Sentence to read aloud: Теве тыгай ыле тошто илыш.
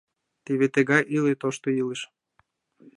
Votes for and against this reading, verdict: 1, 2, rejected